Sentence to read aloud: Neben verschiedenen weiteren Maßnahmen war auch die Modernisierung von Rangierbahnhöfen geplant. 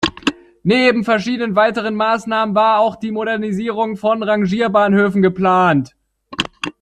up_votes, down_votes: 1, 2